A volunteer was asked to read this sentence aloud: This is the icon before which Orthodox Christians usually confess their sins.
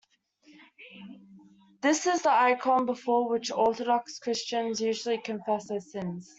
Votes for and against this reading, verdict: 2, 0, accepted